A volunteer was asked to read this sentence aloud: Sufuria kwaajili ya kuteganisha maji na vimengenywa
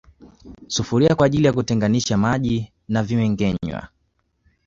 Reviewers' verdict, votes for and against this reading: accepted, 2, 0